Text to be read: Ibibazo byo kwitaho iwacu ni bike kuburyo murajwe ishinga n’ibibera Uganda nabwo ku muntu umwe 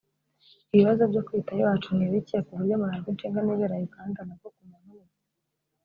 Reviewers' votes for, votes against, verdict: 0, 2, rejected